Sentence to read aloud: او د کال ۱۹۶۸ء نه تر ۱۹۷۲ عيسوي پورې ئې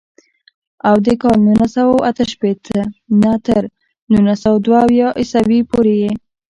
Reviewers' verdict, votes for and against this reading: rejected, 0, 2